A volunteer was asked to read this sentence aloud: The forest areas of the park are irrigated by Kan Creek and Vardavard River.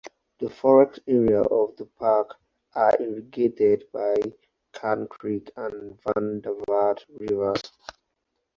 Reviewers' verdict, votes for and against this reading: rejected, 0, 2